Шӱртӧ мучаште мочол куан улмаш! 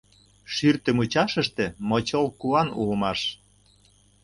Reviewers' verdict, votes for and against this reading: rejected, 0, 2